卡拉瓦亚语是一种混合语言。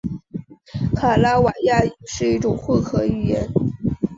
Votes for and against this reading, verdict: 2, 0, accepted